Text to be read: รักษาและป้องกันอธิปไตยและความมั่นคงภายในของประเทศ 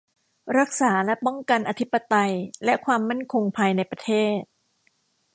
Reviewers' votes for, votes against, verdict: 1, 2, rejected